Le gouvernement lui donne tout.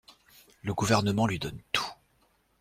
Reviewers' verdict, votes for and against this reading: accepted, 2, 0